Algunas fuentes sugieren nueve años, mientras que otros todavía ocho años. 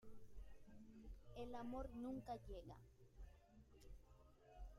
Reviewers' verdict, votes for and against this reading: rejected, 0, 2